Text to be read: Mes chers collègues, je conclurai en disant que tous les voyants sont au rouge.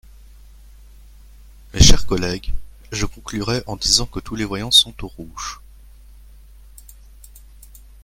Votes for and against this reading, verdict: 1, 2, rejected